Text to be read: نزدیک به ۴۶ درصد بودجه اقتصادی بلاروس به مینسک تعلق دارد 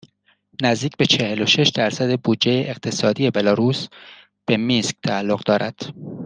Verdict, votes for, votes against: rejected, 0, 2